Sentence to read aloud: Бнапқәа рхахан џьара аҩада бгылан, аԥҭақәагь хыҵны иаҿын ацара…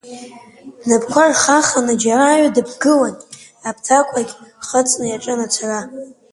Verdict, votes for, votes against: rejected, 0, 2